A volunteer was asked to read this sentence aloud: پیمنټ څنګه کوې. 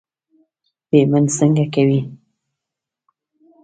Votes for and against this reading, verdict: 2, 1, accepted